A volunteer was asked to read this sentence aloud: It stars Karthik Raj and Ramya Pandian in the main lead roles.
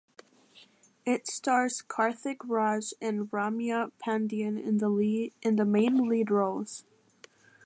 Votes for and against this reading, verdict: 0, 2, rejected